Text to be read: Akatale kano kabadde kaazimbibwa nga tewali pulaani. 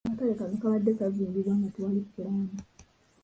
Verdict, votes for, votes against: rejected, 2, 3